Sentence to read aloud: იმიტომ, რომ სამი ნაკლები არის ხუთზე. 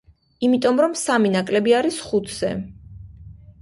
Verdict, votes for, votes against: accepted, 2, 0